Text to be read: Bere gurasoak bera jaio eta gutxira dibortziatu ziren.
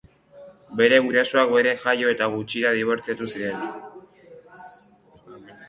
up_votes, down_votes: 2, 0